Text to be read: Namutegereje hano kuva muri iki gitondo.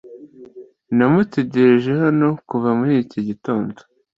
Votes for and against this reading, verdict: 2, 0, accepted